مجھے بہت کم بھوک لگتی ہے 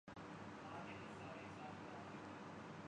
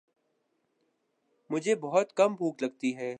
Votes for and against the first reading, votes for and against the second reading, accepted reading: 0, 2, 11, 0, second